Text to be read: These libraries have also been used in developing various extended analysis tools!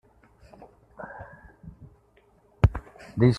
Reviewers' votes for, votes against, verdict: 0, 2, rejected